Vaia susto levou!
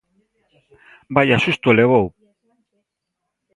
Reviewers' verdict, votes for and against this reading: accepted, 2, 0